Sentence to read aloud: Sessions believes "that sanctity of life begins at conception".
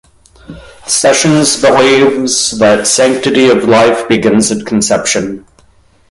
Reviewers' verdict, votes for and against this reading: rejected, 1, 2